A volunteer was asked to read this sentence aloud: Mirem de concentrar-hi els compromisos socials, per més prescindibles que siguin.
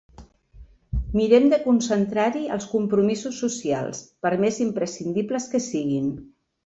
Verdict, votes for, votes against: rejected, 1, 2